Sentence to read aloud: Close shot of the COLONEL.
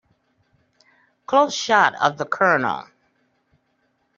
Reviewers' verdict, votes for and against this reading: accepted, 2, 0